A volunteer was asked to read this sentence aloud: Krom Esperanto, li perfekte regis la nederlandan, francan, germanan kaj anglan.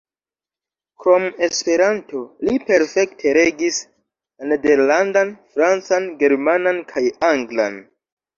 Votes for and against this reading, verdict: 3, 2, accepted